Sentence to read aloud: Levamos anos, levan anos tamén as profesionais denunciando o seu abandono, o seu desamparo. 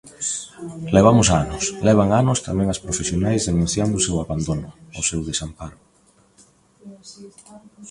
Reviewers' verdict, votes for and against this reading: accepted, 2, 0